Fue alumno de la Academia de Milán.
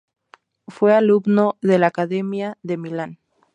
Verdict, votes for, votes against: accepted, 2, 0